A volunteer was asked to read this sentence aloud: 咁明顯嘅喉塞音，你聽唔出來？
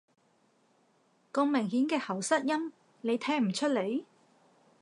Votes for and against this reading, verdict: 2, 0, accepted